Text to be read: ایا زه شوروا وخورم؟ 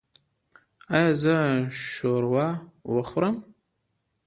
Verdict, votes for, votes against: rejected, 0, 2